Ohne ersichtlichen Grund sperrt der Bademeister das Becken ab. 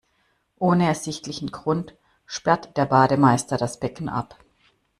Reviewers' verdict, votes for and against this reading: accepted, 2, 0